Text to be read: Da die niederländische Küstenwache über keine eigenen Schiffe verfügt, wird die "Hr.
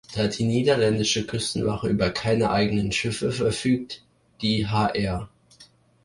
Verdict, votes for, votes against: rejected, 0, 2